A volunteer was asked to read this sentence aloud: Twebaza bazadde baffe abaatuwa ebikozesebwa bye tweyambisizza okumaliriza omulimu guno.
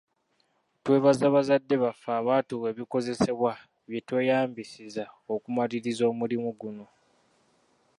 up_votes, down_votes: 2, 1